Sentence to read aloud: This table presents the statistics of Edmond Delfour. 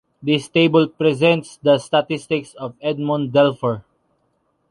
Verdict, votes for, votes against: accepted, 2, 0